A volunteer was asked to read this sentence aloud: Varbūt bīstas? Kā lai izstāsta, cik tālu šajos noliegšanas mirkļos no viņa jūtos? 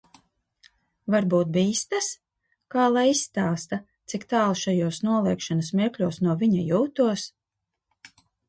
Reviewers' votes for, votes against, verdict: 2, 0, accepted